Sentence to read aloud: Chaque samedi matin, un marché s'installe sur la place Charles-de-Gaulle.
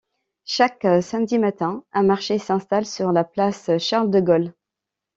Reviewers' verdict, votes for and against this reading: accepted, 2, 0